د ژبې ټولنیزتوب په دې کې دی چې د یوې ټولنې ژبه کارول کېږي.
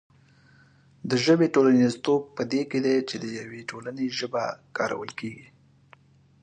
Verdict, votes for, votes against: accepted, 2, 0